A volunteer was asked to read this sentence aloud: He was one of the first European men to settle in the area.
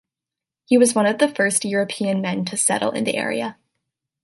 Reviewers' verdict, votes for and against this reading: accepted, 2, 0